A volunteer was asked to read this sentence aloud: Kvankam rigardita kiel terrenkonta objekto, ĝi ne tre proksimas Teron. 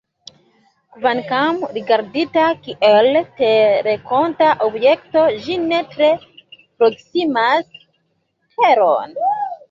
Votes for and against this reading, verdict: 0, 2, rejected